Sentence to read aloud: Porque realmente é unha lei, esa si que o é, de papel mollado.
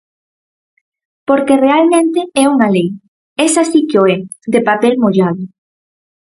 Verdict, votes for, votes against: accepted, 4, 0